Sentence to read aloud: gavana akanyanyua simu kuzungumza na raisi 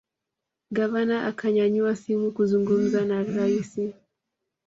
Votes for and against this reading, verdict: 2, 0, accepted